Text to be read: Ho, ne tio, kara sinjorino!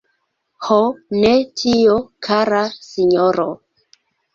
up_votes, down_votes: 1, 2